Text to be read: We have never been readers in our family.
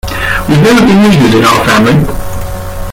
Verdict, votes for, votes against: rejected, 0, 2